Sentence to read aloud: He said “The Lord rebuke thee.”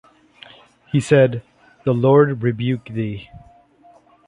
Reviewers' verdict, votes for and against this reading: accepted, 2, 0